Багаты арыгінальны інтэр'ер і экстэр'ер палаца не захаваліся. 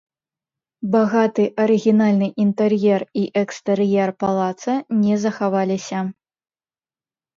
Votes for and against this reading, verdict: 2, 0, accepted